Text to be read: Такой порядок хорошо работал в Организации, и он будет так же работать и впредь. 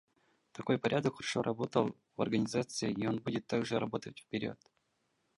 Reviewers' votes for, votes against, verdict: 0, 2, rejected